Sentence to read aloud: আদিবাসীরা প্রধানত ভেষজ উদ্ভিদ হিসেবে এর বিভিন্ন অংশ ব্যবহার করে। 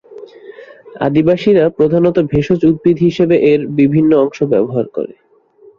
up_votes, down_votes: 6, 0